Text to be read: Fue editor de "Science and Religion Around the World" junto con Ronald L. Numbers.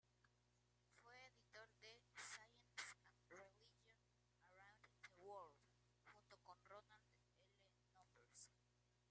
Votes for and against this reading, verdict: 1, 2, rejected